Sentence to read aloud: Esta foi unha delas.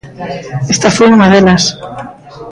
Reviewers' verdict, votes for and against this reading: rejected, 0, 2